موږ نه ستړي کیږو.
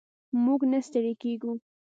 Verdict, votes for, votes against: accepted, 2, 0